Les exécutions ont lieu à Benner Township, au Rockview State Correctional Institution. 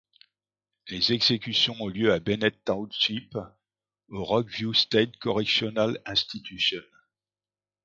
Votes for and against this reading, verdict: 0, 2, rejected